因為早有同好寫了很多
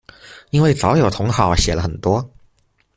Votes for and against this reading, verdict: 2, 0, accepted